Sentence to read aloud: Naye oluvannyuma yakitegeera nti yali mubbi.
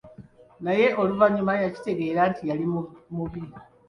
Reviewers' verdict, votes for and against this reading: rejected, 0, 2